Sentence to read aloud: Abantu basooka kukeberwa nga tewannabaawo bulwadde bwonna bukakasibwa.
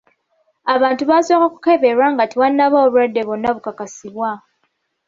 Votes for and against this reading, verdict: 1, 2, rejected